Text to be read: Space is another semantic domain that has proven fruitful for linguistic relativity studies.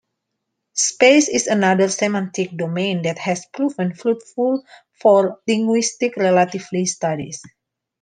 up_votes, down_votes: 1, 2